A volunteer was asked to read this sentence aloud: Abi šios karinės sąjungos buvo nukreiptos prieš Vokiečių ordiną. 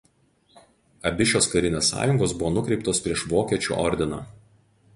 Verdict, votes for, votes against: rejected, 2, 2